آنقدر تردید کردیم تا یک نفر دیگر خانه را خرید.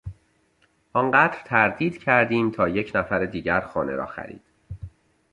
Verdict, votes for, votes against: accepted, 2, 0